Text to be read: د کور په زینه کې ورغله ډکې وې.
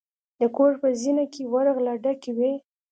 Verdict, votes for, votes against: accepted, 2, 0